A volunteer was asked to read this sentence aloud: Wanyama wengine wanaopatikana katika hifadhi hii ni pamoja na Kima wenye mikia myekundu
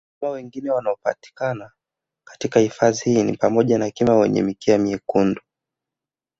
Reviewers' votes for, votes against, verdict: 2, 1, accepted